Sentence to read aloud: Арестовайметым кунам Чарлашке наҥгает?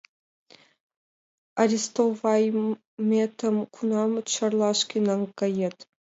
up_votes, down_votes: 1, 4